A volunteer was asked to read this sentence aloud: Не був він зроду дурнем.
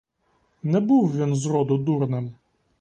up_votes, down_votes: 2, 0